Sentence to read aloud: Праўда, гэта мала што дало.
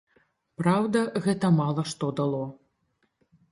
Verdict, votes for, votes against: accepted, 2, 0